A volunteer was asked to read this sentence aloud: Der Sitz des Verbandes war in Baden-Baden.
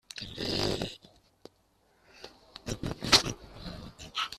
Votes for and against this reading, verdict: 0, 2, rejected